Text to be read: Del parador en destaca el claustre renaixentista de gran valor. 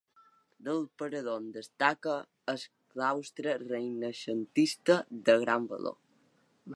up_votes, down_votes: 2, 1